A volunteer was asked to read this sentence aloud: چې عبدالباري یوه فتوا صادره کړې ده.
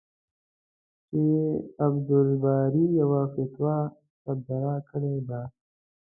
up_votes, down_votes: 1, 2